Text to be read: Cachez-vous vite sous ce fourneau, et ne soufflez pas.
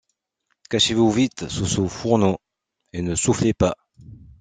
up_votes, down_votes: 2, 0